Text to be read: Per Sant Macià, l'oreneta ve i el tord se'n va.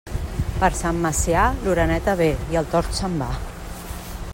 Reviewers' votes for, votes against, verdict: 2, 0, accepted